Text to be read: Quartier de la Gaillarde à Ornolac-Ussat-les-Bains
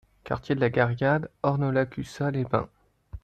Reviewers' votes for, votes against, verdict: 0, 2, rejected